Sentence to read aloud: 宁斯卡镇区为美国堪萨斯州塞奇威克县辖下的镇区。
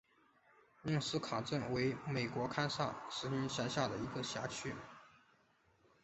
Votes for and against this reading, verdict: 3, 0, accepted